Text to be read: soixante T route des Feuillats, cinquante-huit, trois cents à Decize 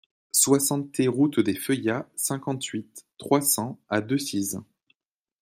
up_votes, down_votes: 2, 0